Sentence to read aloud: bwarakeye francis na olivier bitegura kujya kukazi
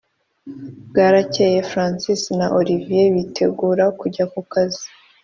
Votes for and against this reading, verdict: 4, 0, accepted